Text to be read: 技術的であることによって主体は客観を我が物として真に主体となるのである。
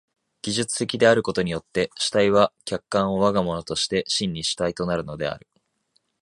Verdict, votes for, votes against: accepted, 2, 0